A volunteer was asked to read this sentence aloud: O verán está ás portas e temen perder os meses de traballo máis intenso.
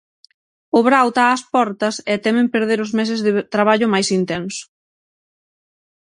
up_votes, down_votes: 0, 6